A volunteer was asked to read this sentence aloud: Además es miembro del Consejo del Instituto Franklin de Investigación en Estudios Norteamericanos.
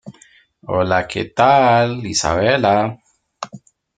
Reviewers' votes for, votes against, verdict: 1, 2, rejected